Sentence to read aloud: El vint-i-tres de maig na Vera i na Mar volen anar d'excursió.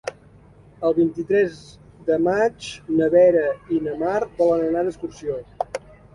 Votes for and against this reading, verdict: 2, 0, accepted